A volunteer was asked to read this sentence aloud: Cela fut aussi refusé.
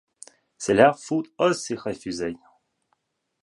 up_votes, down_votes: 1, 2